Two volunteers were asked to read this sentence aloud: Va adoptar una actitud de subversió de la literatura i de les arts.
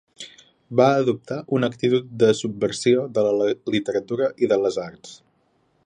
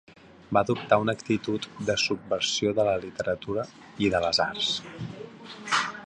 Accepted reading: second